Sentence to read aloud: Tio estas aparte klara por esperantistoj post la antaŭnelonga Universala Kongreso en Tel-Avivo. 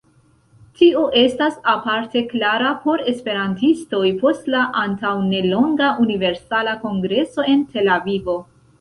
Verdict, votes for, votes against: accepted, 2, 0